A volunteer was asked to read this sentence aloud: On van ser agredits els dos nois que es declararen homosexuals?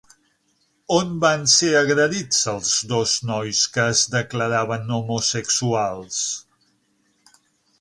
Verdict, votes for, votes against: rejected, 0, 6